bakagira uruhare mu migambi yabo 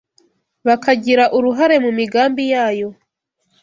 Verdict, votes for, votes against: rejected, 1, 2